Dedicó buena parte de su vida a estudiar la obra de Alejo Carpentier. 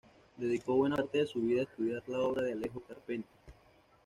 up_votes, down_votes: 1, 2